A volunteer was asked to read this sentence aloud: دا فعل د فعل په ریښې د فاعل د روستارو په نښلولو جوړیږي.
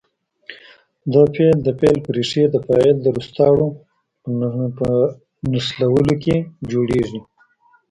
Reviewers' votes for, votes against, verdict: 1, 2, rejected